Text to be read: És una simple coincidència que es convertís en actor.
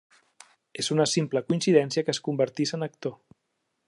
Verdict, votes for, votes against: accepted, 3, 0